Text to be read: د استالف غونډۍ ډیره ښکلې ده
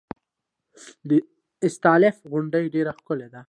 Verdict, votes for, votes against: accepted, 2, 0